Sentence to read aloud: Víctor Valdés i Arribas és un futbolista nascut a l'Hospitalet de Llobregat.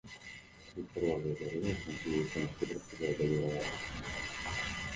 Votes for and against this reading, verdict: 1, 2, rejected